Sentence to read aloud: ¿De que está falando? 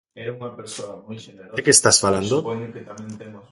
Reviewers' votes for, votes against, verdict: 0, 2, rejected